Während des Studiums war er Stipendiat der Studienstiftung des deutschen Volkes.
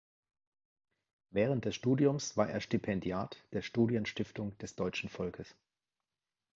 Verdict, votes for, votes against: accepted, 2, 0